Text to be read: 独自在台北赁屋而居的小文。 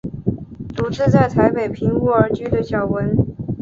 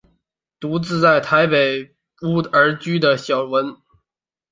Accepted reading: first